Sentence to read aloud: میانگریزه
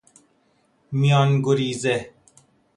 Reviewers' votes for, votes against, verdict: 2, 0, accepted